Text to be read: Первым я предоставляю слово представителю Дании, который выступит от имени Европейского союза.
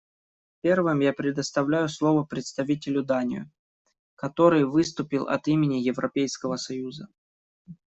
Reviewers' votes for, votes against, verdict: 0, 2, rejected